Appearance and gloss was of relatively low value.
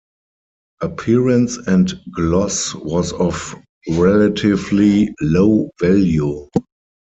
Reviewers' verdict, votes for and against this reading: rejected, 2, 6